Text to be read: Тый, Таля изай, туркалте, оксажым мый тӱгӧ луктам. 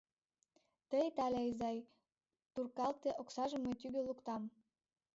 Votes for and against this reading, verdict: 2, 1, accepted